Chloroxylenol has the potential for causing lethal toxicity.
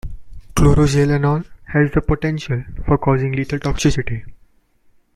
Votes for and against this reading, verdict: 2, 1, accepted